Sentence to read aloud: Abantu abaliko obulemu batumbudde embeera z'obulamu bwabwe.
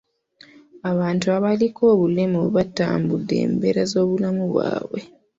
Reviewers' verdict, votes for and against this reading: rejected, 0, 2